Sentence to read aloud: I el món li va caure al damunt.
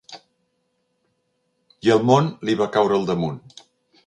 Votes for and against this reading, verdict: 3, 0, accepted